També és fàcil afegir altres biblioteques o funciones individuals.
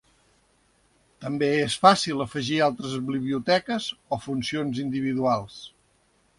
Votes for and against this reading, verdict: 2, 1, accepted